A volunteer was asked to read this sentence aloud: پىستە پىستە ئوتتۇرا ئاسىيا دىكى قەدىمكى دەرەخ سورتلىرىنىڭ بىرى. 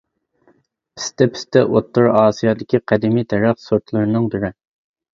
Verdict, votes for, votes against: rejected, 1, 2